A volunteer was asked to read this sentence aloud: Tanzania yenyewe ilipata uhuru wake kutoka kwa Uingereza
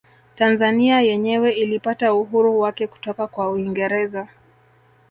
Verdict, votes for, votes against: rejected, 2, 3